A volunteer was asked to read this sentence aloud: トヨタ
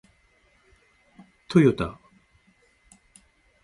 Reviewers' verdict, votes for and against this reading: accepted, 2, 0